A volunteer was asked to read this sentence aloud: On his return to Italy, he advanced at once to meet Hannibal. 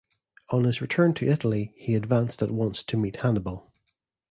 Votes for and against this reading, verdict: 2, 0, accepted